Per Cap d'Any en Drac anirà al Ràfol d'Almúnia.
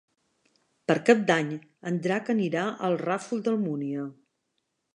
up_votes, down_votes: 2, 0